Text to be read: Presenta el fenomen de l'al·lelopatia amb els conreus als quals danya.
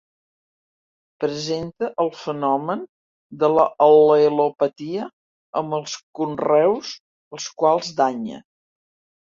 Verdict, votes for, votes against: rejected, 0, 2